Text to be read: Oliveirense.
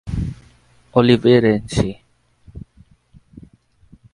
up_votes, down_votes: 2, 2